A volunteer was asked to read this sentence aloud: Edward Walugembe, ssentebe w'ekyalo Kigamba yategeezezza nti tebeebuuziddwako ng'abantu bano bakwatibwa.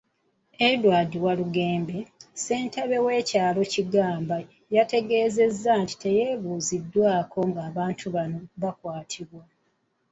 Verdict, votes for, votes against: accepted, 2, 0